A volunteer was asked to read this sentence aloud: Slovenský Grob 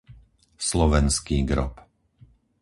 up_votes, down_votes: 4, 0